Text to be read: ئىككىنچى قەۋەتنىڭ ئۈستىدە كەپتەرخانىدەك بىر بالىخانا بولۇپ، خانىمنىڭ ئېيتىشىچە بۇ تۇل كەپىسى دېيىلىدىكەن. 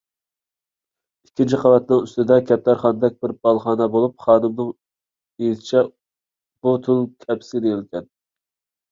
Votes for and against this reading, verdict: 0, 2, rejected